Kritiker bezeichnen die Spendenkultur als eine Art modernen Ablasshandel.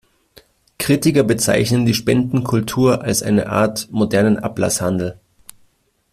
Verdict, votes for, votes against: accepted, 2, 0